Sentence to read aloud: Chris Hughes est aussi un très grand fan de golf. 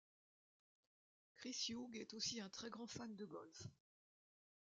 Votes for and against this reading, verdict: 0, 2, rejected